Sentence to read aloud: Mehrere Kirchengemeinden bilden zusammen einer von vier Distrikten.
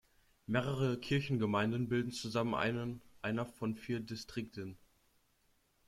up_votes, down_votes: 0, 2